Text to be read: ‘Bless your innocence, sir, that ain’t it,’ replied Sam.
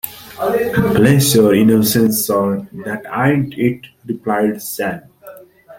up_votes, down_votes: 0, 2